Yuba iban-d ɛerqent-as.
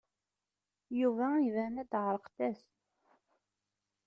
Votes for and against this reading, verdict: 2, 0, accepted